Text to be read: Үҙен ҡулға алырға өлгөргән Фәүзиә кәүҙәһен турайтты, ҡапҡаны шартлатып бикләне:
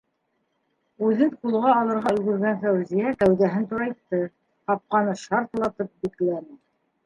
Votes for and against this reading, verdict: 1, 2, rejected